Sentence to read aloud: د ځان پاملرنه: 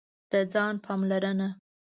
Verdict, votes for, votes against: accepted, 2, 0